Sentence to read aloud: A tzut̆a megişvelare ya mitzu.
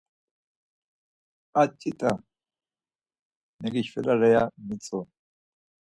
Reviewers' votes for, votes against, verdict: 4, 0, accepted